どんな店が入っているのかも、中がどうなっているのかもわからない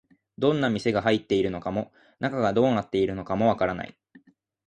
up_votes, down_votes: 2, 0